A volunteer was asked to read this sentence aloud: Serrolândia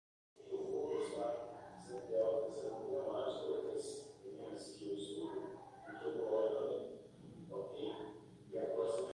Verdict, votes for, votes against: rejected, 0, 2